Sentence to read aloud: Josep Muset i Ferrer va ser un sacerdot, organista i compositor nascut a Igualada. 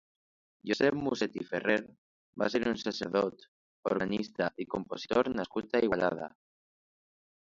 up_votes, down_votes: 2, 1